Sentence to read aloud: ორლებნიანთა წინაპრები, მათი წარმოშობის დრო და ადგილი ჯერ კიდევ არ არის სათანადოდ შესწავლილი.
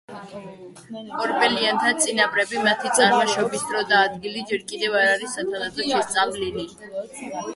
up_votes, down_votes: 0, 2